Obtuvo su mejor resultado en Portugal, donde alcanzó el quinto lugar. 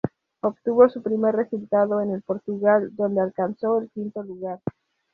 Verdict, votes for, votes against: rejected, 2, 2